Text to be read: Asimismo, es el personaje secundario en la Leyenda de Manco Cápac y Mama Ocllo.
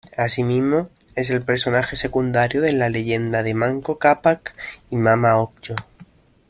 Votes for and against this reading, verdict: 1, 2, rejected